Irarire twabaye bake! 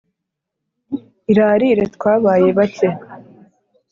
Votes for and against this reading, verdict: 2, 0, accepted